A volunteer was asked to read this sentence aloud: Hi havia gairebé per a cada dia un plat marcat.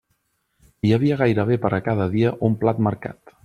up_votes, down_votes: 3, 0